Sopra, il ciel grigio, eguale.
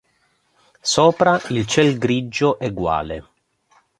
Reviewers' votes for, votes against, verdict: 2, 0, accepted